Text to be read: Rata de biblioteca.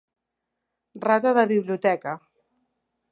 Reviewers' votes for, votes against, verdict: 2, 1, accepted